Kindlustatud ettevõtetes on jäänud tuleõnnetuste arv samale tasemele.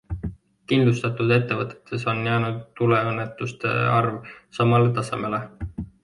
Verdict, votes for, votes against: accepted, 2, 0